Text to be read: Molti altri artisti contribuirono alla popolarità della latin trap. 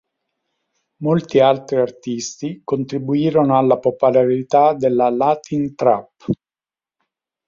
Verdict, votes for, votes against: rejected, 2, 6